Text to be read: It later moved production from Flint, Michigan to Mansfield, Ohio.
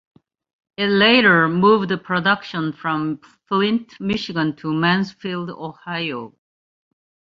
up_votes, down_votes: 2, 0